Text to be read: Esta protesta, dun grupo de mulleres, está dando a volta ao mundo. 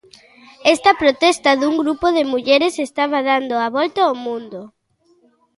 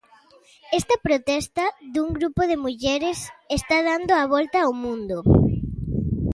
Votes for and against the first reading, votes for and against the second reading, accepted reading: 0, 2, 2, 0, second